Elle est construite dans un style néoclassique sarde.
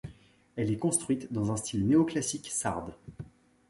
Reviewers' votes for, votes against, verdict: 2, 0, accepted